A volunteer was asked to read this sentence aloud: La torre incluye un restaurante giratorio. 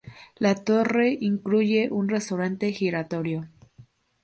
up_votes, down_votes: 2, 0